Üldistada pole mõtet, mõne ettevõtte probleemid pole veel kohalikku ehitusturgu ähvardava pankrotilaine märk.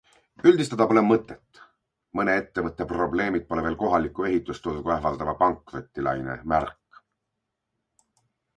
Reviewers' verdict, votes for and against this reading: accepted, 2, 0